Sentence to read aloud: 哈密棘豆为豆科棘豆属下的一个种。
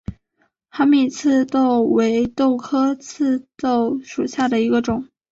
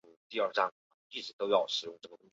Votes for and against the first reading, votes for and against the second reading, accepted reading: 4, 1, 1, 4, first